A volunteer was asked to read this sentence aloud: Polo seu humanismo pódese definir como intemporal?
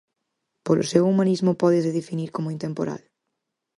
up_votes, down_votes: 4, 0